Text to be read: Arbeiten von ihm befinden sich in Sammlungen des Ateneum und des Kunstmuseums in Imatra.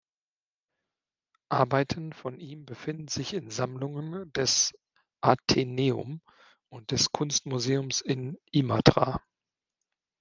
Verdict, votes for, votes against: accepted, 3, 0